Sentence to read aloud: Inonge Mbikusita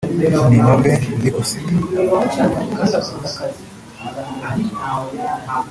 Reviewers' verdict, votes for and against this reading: rejected, 0, 2